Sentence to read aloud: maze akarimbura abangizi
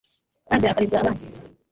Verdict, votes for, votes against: rejected, 1, 2